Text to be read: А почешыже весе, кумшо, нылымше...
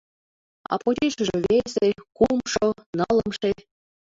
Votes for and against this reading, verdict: 1, 2, rejected